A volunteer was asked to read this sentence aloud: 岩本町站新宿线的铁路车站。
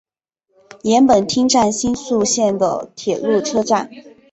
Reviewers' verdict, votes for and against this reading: rejected, 0, 2